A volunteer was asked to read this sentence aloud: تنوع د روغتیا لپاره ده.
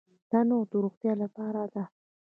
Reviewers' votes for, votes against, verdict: 2, 1, accepted